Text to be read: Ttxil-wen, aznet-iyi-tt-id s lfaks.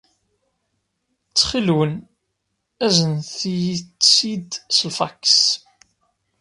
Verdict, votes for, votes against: rejected, 0, 2